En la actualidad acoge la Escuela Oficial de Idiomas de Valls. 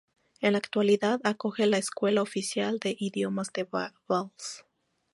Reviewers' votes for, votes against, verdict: 0, 2, rejected